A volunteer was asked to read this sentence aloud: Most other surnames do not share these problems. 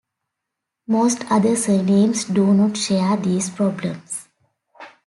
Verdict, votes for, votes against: accepted, 2, 0